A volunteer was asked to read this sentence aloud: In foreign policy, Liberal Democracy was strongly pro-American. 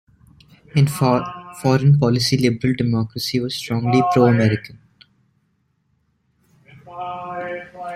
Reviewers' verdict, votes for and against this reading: rejected, 0, 2